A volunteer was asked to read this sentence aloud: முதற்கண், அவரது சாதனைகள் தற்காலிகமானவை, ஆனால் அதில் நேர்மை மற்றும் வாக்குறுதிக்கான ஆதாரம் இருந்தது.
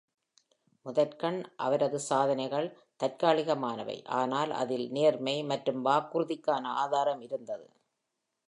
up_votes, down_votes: 2, 0